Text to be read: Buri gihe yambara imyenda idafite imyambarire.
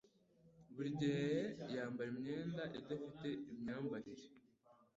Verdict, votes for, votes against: accepted, 2, 0